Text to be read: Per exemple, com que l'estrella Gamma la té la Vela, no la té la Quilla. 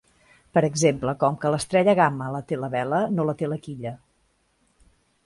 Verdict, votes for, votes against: accepted, 2, 0